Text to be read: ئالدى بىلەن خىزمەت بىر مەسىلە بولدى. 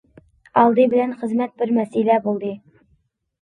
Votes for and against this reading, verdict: 2, 0, accepted